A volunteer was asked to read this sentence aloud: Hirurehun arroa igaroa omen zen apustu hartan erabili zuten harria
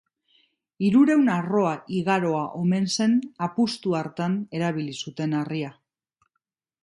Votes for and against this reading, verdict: 2, 0, accepted